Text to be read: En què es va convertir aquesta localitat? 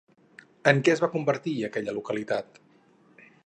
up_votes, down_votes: 0, 4